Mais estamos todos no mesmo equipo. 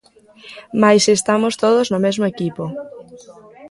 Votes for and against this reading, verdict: 0, 2, rejected